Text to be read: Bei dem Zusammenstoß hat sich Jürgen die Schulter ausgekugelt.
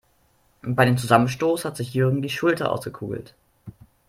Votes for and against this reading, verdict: 2, 0, accepted